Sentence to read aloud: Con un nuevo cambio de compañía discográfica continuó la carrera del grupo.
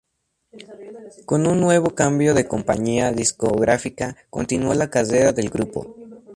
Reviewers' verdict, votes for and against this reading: accepted, 2, 0